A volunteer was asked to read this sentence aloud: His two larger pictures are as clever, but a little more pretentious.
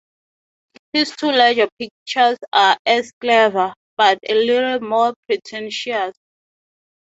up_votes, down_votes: 2, 0